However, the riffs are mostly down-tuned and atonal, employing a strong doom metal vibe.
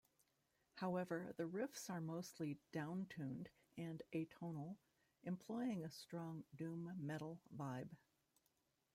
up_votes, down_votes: 1, 2